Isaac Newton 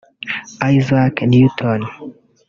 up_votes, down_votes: 1, 3